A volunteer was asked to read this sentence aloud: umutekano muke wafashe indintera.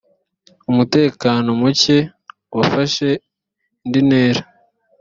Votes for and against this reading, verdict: 4, 0, accepted